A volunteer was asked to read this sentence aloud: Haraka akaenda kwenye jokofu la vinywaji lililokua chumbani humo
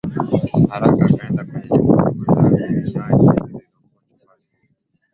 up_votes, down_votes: 4, 6